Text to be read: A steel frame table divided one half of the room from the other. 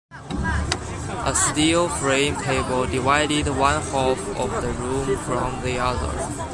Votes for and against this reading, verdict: 1, 2, rejected